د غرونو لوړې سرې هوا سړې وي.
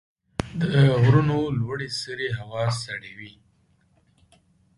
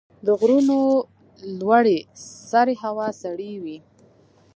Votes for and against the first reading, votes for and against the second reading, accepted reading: 3, 0, 1, 2, first